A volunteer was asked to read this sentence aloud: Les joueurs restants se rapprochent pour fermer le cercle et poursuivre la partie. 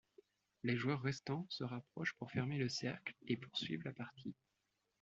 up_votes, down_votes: 2, 0